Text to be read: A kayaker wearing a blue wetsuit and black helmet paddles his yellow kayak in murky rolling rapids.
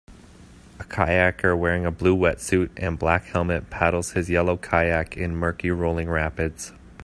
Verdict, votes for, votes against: accepted, 2, 0